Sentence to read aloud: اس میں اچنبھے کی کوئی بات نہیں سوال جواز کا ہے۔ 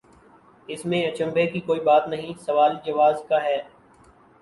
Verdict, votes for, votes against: accepted, 4, 1